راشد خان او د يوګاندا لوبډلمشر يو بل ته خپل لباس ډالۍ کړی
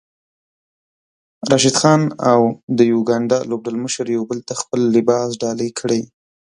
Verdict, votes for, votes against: accepted, 2, 1